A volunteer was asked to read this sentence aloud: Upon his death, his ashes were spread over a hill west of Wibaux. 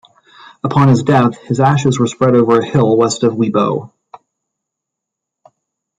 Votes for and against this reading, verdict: 2, 0, accepted